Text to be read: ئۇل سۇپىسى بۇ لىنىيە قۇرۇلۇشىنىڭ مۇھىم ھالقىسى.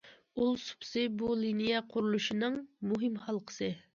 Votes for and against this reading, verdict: 2, 0, accepted